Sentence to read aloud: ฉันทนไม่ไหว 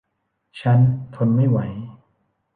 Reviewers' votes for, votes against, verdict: 1, 2, rejected